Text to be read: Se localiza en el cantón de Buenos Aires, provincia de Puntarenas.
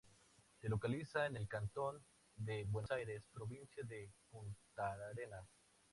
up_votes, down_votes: 0, 4